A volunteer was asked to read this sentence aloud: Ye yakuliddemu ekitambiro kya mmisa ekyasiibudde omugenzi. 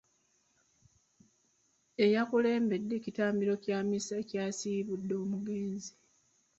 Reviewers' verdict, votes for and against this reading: rejected, 1, 2